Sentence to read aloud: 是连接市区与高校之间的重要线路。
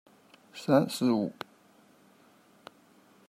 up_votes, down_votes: 0, 2